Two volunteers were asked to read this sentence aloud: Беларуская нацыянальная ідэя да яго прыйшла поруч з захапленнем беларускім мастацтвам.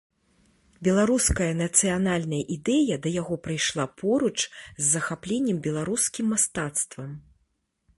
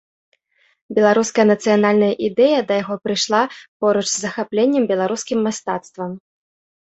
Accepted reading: second